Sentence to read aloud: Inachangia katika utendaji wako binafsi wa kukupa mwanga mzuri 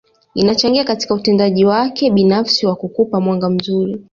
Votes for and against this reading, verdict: 2, 0, accepted